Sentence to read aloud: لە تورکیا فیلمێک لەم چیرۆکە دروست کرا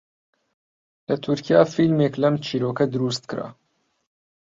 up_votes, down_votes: 2, 0